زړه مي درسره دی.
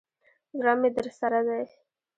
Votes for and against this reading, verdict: 1, 2, rejected